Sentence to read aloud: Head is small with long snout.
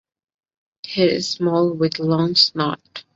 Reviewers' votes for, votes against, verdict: 1, 2, rejected